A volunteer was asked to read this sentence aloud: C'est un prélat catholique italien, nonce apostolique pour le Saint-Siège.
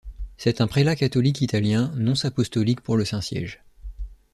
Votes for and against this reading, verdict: 2, 0, accepted